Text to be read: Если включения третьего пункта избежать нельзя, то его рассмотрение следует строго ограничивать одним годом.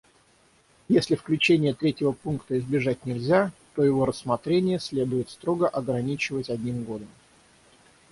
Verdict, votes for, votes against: rejected, 3, 3